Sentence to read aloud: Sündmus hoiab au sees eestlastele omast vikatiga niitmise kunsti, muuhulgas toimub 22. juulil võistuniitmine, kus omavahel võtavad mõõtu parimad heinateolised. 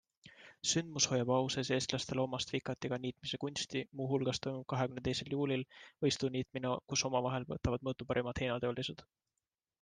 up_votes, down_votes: 0, 2